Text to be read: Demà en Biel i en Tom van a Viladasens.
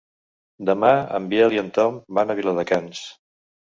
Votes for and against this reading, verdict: 1, 2, rejected